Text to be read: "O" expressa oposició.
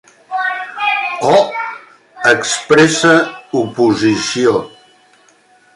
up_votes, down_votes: 2, 0